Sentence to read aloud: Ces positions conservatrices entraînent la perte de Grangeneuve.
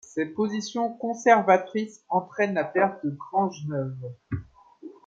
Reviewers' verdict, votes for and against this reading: accepted, 2, 0